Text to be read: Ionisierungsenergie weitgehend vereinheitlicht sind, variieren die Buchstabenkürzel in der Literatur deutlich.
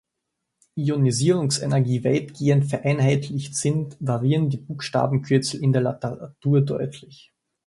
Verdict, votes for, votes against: rejected, 1, 2